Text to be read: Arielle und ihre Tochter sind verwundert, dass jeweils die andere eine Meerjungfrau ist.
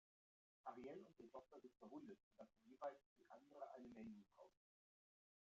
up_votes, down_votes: 0, 2